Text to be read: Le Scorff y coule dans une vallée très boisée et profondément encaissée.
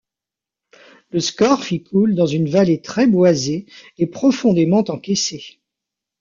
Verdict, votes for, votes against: accepted, 2, 0